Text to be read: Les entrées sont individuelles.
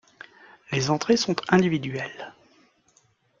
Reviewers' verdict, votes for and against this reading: accepted, 2, 0